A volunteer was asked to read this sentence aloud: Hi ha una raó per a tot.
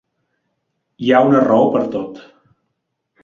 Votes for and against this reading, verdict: 2, 3, rejected